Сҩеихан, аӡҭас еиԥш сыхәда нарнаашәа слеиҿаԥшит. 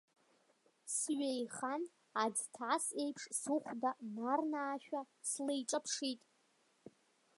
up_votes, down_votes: 1, 2